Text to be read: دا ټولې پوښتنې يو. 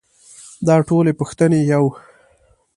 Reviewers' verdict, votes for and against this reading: accepted, 2, 0